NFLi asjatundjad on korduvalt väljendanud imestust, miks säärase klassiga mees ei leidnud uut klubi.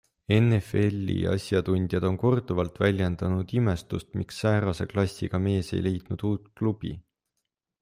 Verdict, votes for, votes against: accepted, 2, 0